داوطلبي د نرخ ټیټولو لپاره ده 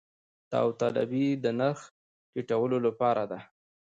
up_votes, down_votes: 1, 2